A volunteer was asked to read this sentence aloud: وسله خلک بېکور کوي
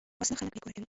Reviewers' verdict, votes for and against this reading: rejected, 0, 2